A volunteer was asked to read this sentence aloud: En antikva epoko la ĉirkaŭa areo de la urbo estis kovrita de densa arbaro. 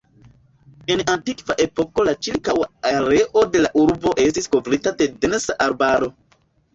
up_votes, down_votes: 2, 0